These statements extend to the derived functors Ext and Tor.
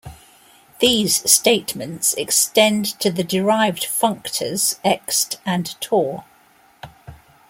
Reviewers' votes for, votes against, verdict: 2, 1, accepted